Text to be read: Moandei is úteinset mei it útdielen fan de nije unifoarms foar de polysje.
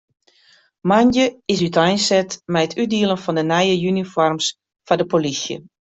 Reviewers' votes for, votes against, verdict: 2, 0, accepted